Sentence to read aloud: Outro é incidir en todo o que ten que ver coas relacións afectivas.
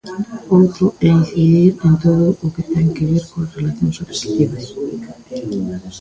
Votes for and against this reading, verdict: 0, 2, rejected